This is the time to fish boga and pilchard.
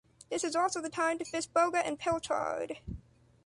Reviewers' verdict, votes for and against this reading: rejected, 0, 2